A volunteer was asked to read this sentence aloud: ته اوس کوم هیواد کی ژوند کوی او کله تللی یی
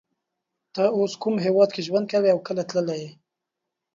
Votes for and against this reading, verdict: 3, 0, accepted